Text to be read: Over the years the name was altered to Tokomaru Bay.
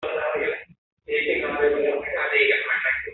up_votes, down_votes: 0, 5